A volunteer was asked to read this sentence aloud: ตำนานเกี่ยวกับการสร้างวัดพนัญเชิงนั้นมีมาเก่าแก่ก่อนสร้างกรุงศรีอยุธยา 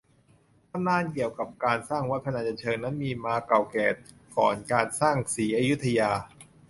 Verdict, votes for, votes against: rejected, 0, 2